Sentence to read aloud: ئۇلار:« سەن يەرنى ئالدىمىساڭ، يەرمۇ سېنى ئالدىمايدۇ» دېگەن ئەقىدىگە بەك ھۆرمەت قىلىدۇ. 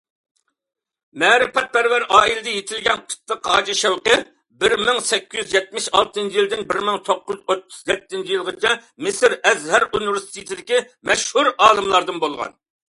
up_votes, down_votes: 0, 2